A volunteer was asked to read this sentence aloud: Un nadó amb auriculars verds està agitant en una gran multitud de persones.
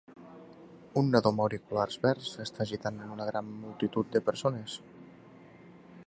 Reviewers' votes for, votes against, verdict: 3, 0, accepted